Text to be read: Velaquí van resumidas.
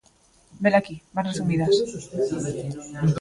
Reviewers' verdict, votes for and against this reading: rejected, 0, 2